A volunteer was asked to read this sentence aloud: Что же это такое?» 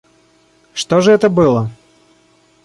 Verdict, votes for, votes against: rejected, 0, 2